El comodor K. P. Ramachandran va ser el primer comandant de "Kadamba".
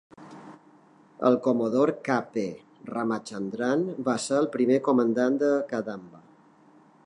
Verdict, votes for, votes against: accepted, 3, 0